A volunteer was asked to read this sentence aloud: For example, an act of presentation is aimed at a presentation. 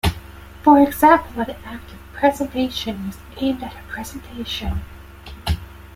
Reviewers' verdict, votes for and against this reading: rejected, 1, 2